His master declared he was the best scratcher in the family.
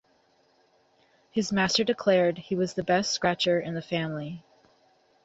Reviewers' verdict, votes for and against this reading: rejected, 3, 3